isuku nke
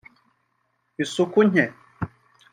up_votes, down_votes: 2, 0